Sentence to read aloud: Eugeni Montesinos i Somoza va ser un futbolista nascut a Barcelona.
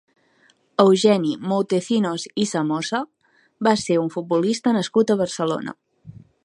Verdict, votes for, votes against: rejected, 0, 2